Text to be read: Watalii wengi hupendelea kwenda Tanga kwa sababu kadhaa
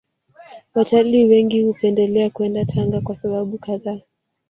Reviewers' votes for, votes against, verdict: 1, 2, rejected